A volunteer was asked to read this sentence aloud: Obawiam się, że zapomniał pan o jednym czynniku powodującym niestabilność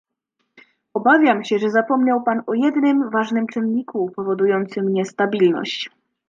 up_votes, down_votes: 0, 2